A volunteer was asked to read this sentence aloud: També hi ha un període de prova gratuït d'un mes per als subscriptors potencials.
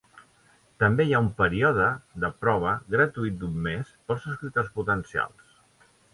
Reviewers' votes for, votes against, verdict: 1, 2, rejected